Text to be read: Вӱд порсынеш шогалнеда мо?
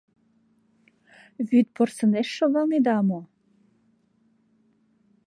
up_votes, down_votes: 2, 0